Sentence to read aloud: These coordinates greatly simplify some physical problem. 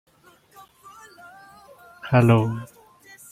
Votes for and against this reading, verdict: 0, 2, rejected